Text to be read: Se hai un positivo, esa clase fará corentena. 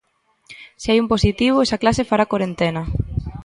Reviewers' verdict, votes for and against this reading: accepted, 2, 0